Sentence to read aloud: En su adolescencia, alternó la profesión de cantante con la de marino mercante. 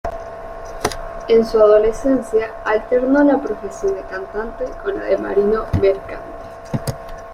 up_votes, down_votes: 2, 0